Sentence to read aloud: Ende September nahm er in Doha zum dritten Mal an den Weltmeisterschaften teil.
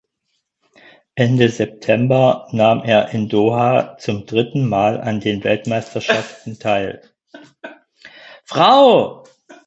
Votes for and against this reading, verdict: 0, 4, rejected